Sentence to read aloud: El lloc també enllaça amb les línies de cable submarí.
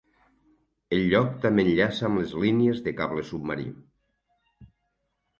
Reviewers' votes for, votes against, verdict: 6, 0, accepted